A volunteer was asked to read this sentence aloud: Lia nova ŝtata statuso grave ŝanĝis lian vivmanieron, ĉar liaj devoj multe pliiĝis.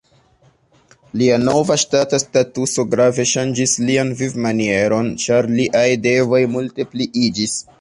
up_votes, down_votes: 0, 2